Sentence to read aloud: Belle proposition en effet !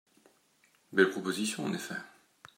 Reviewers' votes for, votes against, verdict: 2, 0, accepted